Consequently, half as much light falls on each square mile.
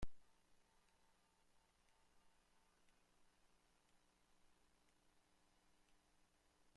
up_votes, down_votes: 0, 2